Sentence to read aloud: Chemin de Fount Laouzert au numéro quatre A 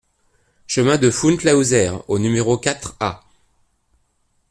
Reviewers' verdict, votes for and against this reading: accepted, 2, 0